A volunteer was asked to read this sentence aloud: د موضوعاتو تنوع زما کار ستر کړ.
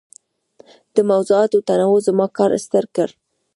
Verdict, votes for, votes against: rejected, 1, 2